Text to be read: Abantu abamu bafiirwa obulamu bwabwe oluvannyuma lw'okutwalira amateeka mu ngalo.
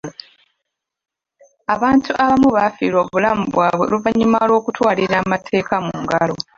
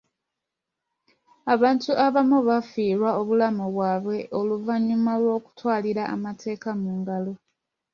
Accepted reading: second